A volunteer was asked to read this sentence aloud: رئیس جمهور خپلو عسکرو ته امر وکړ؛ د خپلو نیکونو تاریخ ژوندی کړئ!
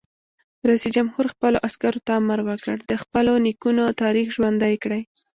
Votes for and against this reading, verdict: 2, 1, accepted